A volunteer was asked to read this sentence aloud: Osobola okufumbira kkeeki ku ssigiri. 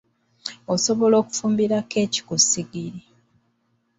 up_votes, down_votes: 2, 0